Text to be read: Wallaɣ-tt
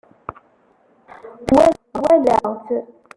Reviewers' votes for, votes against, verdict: 0, 2, rejected